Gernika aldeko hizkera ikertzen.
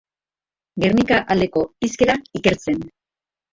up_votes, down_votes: 0, 2